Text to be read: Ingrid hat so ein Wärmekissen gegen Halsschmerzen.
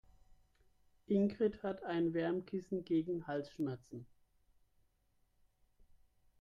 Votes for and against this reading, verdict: 0, 2, rejected